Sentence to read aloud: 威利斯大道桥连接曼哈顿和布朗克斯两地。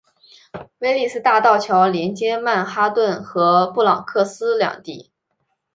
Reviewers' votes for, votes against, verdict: 0, 2, rejected